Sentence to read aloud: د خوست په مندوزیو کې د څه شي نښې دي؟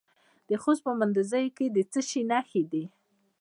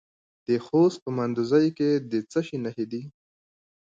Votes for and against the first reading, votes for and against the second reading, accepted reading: 0, 2, 2, 1, second